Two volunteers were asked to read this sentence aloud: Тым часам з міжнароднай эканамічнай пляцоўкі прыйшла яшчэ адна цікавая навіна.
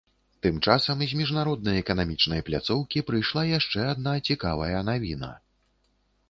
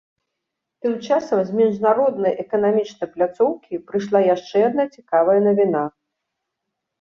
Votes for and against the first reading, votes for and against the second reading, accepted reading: 1, 2, 2, 0, second